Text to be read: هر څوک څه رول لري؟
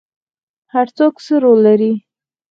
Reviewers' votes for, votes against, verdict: 0, 4, rejected